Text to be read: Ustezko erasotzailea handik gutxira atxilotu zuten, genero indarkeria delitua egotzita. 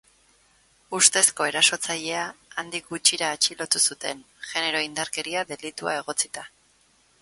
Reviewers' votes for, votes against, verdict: 4, 0, accepted